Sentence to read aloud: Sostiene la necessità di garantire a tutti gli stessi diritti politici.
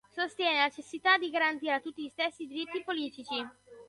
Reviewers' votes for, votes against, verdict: 0, 2, rejected